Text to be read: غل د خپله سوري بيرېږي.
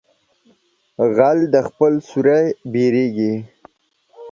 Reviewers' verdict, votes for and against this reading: accepted, 2, 1